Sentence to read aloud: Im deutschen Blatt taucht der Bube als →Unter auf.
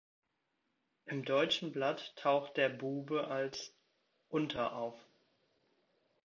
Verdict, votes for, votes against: accepted, 2, 1